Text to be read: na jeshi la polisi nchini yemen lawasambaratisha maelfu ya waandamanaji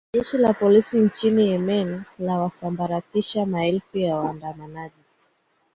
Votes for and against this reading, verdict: 3, 0, accepted